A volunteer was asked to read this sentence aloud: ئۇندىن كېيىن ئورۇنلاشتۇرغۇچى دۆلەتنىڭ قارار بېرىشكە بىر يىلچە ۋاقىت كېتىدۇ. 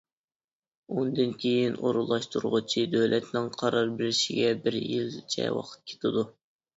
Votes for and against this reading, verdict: 0, 2, rejected